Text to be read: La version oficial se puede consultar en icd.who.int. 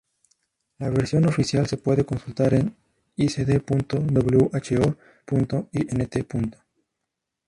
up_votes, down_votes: 0, 2